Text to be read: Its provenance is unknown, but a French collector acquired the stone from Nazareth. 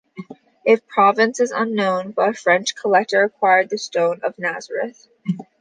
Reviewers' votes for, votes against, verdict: 0, 2, rejected